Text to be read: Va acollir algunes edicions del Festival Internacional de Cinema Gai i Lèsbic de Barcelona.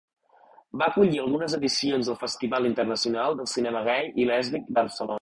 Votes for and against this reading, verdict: 1, 2, rejected